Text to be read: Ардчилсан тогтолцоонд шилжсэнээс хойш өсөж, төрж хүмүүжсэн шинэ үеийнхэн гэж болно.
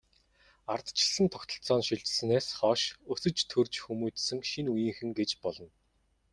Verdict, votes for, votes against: accepted, 2, 0